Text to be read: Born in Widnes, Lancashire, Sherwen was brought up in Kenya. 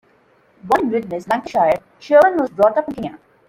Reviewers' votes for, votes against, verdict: 1, 2, rejected